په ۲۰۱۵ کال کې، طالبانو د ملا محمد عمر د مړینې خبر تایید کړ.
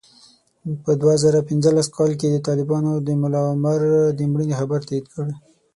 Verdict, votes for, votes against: rejected, 0, 2